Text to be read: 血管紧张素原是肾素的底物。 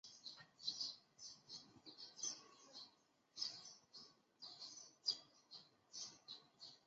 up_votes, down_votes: 0, 6